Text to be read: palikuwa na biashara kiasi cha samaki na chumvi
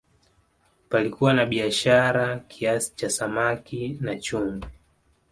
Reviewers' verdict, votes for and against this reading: accepted, 2, 0